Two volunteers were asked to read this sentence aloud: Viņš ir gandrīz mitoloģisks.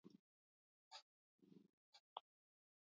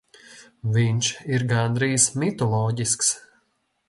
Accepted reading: second